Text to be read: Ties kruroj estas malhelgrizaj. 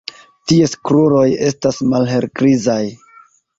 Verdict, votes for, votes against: accepted, 2, 1